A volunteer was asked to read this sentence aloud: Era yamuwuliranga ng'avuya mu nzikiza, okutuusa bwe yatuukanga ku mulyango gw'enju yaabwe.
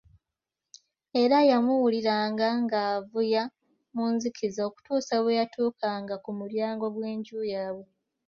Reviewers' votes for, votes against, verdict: 2, 0, accepted